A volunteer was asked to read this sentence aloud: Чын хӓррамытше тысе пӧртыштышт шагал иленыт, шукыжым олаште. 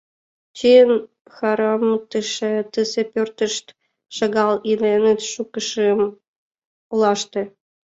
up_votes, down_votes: 0, 2